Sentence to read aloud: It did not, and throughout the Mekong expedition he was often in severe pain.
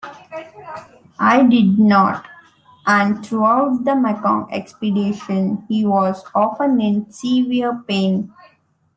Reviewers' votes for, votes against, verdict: 1, 2, rejected